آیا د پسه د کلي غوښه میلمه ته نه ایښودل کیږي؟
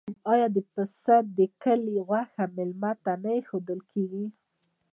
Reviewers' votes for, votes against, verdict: 2, 0, accepted